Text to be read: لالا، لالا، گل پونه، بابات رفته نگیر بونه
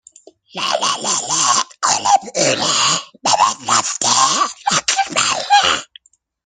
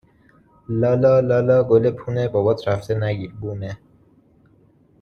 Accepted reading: second